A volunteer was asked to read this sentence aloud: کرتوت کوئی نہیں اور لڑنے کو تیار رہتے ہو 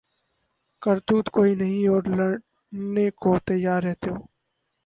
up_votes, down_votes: 2, 4